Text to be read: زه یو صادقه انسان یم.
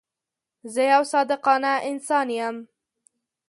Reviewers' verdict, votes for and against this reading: rejected, 1, 2